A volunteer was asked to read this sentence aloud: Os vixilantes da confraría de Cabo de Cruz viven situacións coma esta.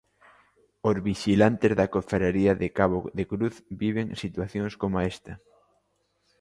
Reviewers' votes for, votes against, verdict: 1, 2, rejected